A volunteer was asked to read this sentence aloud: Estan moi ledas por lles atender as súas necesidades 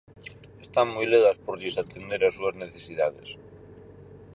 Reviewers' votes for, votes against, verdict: 4, 0, accepted